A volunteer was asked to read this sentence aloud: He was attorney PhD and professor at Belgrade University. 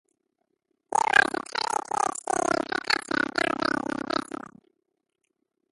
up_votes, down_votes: 0, 2